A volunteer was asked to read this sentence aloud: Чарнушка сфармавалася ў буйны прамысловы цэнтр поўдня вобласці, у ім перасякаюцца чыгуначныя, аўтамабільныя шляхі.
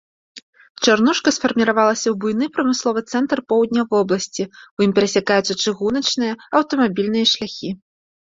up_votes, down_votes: 1, 2